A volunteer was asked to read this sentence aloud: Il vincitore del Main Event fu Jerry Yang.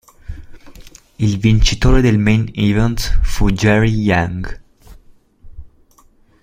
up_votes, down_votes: 2, 1